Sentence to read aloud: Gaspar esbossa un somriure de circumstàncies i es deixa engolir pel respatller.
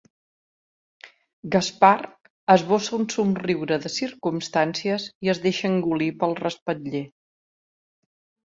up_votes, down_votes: 2, 0